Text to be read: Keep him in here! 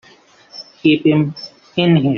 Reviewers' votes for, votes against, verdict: 2, 1, accepted